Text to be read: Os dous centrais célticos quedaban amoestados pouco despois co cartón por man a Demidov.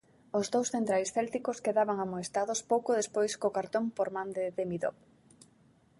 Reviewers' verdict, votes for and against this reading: rejected, 0, 2